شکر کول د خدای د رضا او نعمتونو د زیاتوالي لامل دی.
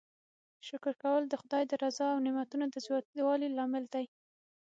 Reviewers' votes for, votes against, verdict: 6, 0, accepted